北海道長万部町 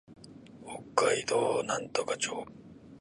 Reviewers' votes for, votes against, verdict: 0, 2, rejected